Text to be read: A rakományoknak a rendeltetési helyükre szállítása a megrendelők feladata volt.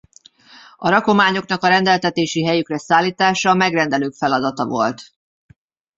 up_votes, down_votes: 2, 1